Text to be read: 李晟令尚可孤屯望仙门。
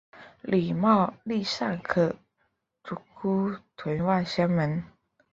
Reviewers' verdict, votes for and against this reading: rejected, 1, 2